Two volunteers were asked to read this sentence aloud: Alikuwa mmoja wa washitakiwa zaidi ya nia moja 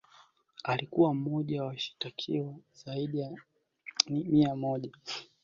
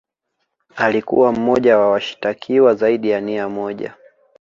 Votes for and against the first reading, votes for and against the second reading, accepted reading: 0, 2, 2, 1, second